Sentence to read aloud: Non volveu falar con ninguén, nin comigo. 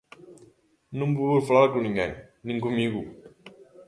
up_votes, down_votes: 0, 2